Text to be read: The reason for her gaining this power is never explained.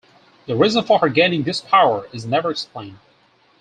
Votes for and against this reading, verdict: 4, 0, accepted